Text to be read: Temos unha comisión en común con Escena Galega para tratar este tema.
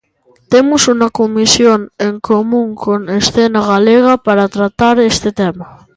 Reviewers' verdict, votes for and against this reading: rejected, 1, 2